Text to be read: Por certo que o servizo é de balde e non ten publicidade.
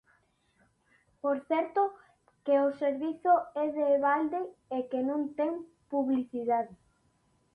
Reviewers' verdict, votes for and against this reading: rejected, 0, 2